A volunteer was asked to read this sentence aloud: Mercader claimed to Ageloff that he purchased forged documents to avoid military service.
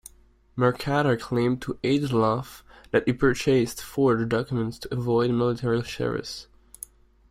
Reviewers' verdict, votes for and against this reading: accepted, 2, 1